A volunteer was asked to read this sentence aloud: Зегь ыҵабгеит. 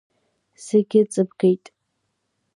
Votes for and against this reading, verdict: 2, 0, accepted